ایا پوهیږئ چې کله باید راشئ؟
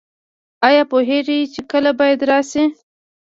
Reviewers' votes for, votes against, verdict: 1, 2, rejected